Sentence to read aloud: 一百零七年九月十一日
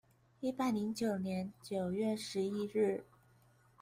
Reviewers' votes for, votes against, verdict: 1, 2, rejected